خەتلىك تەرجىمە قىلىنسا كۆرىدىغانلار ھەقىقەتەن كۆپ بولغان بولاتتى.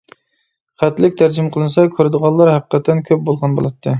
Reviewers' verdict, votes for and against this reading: accepted, 2, 0